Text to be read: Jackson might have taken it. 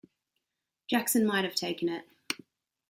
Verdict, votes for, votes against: accepted, 2, 0